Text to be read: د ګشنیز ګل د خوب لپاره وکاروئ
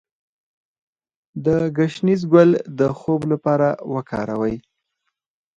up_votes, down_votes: 0, 4